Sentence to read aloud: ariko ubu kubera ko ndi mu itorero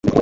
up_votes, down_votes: 0, 2